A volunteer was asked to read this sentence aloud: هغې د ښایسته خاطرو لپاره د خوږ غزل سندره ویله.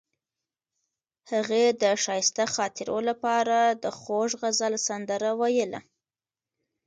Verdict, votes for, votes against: accepted, 2, 0